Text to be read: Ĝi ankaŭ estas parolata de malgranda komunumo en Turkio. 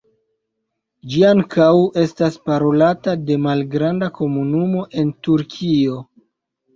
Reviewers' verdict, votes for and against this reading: rejected, 0, 2